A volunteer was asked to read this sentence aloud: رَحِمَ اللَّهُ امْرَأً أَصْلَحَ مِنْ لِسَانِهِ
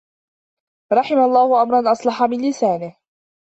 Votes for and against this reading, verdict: 1, 2, rejected